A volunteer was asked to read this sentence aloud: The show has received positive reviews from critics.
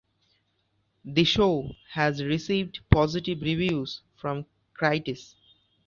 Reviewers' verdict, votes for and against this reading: rejected, 0, 2